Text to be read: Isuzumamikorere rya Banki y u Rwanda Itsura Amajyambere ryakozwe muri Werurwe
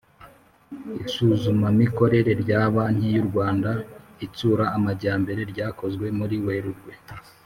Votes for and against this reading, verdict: 3, 0, accepted